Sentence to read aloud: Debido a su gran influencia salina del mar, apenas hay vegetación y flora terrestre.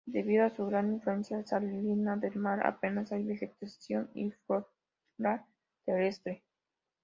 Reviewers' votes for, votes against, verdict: 1, 2, rejected